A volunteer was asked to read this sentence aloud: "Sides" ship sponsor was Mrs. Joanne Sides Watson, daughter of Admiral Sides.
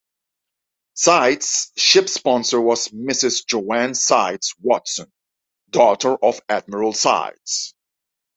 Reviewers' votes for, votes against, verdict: 2, 0, accepted